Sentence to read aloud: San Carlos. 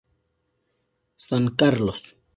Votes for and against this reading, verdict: 2, 2, rejected